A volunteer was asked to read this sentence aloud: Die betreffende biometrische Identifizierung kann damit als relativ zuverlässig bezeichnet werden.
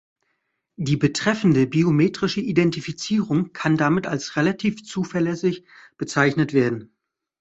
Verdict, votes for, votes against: accepted, 2, 0